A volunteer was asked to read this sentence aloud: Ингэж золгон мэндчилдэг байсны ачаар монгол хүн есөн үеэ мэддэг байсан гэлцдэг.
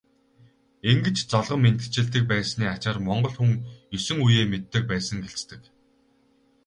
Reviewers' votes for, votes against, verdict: 2, 2, rejected